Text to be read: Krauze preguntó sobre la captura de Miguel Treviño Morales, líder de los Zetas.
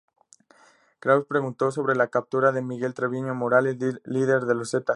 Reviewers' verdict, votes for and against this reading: accepted, 2, 0